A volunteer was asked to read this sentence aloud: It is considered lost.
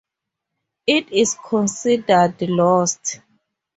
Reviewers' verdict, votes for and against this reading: rejected, 0, 2